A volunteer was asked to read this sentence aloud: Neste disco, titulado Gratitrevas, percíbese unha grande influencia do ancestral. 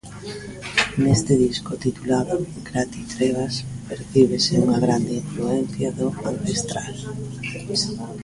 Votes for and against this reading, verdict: 0, 2, rejected